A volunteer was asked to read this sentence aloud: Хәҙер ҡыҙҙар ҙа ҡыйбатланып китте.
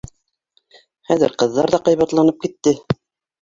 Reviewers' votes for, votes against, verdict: 1, 2, rejected